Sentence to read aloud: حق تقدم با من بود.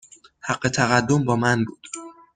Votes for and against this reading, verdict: 2, 0, accepted